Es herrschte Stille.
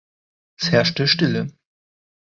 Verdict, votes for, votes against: accepted, 2, 0